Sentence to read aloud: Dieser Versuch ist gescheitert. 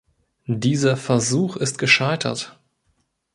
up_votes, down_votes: 2, 0